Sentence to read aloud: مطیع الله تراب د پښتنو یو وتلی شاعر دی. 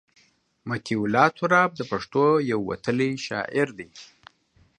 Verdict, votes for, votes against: rejected, 1, 2